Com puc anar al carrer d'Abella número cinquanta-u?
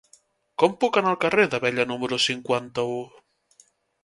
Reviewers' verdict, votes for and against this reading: accepted, 2, 0